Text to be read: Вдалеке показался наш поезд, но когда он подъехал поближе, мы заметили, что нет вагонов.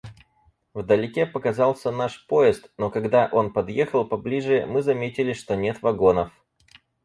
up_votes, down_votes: 4, 0